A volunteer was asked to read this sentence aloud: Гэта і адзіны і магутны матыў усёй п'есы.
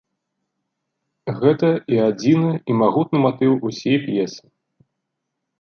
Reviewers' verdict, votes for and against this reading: rejected, 1, 2